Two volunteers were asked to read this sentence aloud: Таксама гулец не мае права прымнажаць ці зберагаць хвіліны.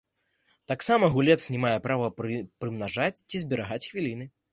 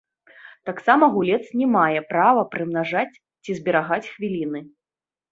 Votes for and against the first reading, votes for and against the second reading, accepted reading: 1, 2, 2, 0, second